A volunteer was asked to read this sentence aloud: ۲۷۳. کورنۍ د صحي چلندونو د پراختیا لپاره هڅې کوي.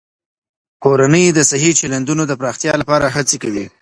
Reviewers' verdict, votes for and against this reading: rejected, 0, 2